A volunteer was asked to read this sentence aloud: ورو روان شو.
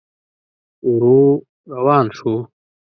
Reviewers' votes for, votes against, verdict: 2, 0, accepted